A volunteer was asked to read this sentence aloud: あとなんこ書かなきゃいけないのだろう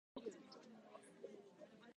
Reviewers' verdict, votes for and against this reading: rejected, 0, 2